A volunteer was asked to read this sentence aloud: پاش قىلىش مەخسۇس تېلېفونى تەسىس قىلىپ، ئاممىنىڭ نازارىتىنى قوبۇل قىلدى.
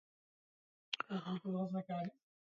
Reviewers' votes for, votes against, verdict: 0, 2, rejected